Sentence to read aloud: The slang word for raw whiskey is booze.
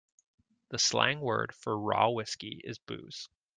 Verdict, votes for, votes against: accepted, 2, 0